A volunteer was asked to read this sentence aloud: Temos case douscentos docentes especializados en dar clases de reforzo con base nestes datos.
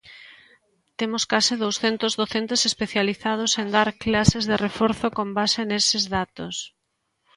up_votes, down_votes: 1, 2